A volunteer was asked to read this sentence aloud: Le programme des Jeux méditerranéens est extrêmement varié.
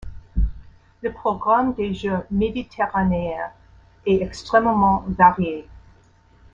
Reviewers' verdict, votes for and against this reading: rejected, 0, 2